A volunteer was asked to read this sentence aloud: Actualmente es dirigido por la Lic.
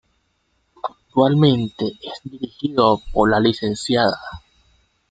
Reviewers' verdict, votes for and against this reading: rejected, 1, 2